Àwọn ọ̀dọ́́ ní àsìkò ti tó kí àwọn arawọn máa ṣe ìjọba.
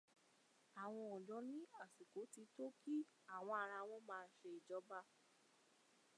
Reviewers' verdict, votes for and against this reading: rejected, 0, 2